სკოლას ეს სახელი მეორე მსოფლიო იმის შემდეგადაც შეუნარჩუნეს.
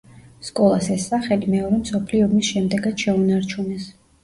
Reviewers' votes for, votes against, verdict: 0, 2, rejected